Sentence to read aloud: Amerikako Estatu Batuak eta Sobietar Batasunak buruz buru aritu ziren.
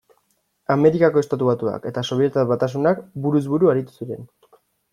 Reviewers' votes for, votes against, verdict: 2, 0, accepted